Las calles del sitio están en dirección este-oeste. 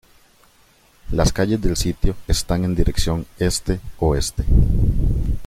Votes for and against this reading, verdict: 2, 0, accepted